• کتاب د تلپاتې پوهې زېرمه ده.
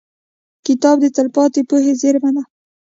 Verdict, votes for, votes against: rejected, 0, 2